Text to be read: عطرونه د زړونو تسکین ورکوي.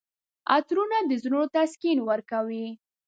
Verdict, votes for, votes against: rejected, 0, 2